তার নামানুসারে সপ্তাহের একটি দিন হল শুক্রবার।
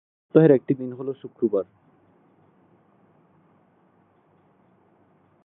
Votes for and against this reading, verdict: 0, 3, rejected